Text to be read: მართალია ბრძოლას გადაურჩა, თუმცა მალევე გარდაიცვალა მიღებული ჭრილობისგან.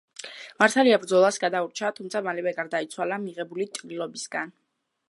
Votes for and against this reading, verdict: 3, 0, accepted